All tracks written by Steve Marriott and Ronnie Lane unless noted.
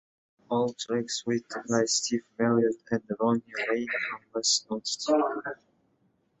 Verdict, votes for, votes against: rejected, 0, 2